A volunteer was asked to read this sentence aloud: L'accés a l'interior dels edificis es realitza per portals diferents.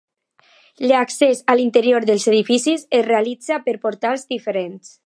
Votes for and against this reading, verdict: 2, 0, accepted